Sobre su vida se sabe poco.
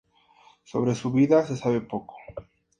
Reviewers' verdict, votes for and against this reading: accepted, 2, 0